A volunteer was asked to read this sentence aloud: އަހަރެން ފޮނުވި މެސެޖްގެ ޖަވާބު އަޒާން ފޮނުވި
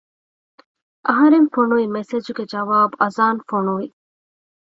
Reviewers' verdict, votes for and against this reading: accepted, 2, 0